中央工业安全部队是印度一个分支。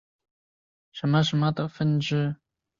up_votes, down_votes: 0, 3